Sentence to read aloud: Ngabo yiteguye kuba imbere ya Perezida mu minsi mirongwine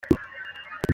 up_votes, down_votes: 0, 2